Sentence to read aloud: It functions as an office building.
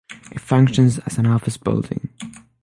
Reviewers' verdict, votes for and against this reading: accepted, 6, 0